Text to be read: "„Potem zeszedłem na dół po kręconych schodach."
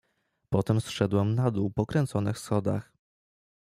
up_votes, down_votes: 1, 2